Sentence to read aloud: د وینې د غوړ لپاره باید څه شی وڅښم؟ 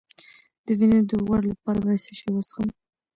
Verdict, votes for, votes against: accepted, 2, 0